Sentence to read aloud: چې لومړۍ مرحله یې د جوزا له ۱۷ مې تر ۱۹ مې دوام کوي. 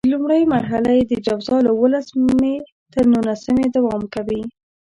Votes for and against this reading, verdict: 0, 2, rejected